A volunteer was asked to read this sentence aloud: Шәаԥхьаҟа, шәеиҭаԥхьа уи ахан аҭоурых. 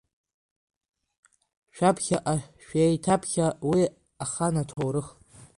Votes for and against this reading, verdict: 2, 1, accepted